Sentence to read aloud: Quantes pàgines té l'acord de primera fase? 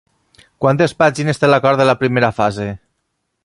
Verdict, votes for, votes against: rejected, 0, 2